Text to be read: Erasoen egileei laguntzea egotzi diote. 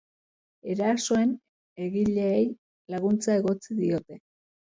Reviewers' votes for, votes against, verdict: 1, 2, rejected